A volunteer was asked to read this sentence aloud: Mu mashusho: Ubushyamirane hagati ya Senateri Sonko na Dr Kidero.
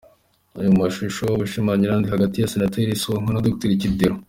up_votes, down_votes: 2, 1